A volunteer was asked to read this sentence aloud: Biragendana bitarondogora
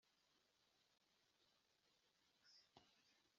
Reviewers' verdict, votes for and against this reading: rejected, 0, 2